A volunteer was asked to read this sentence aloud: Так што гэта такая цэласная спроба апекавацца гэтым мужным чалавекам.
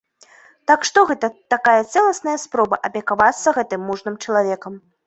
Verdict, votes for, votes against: accepted, 2, 1